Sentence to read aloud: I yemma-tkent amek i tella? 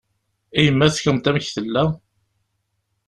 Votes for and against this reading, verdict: 2, 1, accepted